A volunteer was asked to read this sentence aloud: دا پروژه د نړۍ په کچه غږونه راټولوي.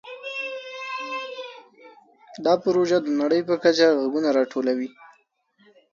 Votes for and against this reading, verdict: 2, 4, rejected